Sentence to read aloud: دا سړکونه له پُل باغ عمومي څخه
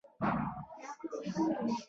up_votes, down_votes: 0, 2